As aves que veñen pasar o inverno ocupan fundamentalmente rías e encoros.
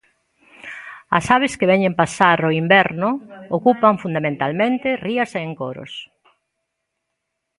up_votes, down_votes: 1, 2